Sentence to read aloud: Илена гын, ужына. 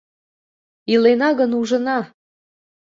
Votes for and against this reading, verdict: 2, 0, accepted